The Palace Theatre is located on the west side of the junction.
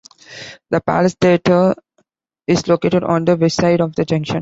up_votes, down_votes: 2, 0